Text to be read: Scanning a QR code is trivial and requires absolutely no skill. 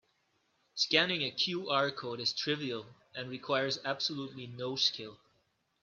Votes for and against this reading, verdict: 2, 0, accepted